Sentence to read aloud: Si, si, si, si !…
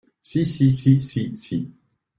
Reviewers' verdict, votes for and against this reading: rejected, 0, 2